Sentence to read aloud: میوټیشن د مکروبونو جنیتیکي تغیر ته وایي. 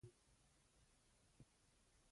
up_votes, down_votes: 0, 2